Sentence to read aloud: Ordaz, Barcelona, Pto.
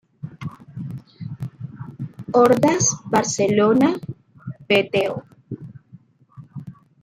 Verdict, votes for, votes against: rejected, 1, 2